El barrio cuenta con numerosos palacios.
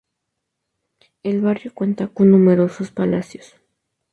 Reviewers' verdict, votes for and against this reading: accepted, 2, 0